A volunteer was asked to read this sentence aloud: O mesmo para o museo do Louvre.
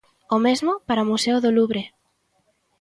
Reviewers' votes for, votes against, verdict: 2, 0, accepted